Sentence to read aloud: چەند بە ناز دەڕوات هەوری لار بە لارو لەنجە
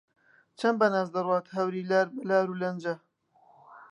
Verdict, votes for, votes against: accepted, 3, 2